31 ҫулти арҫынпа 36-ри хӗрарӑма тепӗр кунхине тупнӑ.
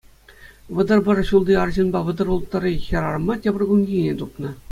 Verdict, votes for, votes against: rejected, 0, 2